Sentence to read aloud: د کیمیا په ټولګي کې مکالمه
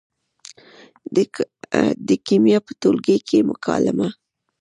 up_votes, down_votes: 1, 2